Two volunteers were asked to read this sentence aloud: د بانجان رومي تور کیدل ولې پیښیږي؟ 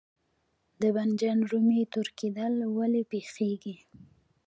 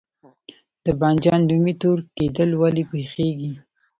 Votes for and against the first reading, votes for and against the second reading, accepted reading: 1, 2, 2, 0, second